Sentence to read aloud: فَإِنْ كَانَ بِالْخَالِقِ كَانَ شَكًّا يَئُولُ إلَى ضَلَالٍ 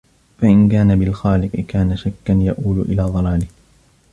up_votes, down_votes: 1, 2